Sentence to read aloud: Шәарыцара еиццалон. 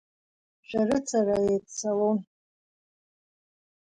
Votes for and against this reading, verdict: 3, 1, accepted